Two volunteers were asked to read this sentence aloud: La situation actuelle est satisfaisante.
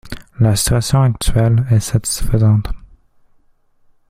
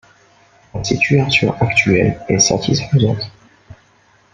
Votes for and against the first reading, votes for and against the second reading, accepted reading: 2, 0, 1, 2, first